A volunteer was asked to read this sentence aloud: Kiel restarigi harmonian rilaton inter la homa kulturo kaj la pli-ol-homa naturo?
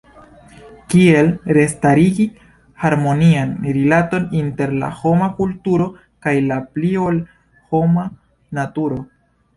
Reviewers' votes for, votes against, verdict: 2, 1, accepted